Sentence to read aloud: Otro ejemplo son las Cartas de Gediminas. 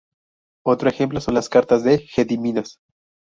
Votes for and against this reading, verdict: 0, 2, rejected